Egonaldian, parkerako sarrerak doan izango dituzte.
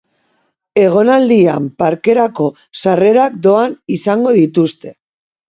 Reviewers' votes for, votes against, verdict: 2, 0, accepted